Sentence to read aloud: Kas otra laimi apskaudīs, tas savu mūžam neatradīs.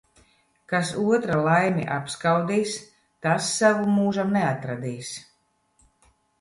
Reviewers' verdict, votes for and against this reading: accepted, 2, 0